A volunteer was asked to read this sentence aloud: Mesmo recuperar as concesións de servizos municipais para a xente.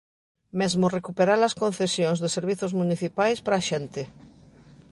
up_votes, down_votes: 1, 2